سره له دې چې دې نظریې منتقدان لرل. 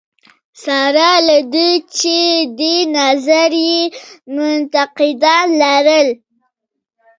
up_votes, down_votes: 2, 0